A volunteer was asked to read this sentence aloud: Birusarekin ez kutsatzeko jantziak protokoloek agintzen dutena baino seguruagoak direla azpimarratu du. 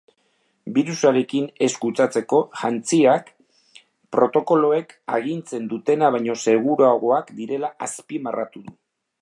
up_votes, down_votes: 2, 0